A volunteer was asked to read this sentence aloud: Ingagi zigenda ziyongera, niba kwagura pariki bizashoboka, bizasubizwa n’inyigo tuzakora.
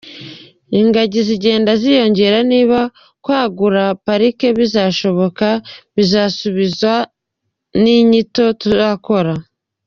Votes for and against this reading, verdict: 0, 2, rejected